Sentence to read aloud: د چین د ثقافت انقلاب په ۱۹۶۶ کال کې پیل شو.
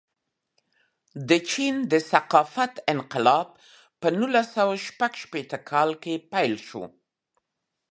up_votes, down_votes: 0, 2